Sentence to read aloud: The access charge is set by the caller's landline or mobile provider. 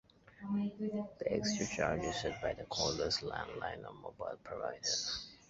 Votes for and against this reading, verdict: 0, 2, rejected